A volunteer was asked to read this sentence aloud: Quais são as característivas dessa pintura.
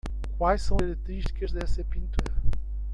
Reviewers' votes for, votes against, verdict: 0, 2, rejected